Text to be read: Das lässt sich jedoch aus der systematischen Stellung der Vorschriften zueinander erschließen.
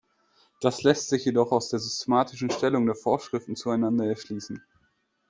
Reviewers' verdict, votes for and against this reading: rejected, 2, 3